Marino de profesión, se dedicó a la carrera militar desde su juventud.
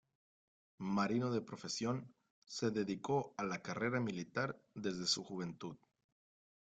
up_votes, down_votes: 2, 0